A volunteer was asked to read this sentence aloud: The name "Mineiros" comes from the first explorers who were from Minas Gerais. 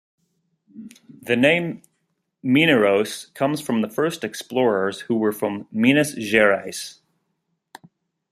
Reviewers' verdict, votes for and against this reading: accepted, 4, 0